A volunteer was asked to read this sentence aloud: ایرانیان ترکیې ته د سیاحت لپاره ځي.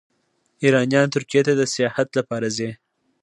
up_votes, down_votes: 2, 0